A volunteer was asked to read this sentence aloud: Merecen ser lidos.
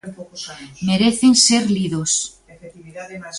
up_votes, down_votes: 0, 2